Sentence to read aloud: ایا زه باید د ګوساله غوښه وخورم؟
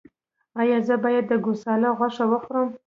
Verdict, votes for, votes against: accepted, 2, 0